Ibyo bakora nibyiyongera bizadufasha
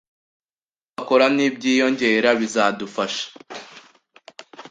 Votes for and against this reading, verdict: 1, 2, rejected